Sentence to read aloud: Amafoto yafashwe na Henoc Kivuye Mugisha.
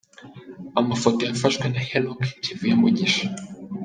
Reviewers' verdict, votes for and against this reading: accepted, 2, 0